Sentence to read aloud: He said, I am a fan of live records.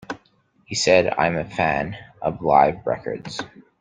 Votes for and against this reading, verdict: 2, 0, accepted